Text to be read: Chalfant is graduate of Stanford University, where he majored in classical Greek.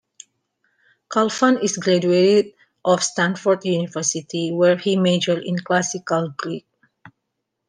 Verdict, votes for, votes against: rejected, 0, 2